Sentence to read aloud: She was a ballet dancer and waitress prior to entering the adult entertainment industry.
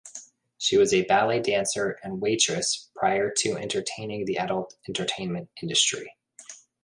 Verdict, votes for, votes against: rejected, 0, 2